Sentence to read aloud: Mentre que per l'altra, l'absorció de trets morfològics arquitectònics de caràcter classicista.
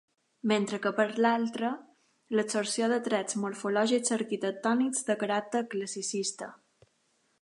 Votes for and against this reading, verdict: 2, 0, accepted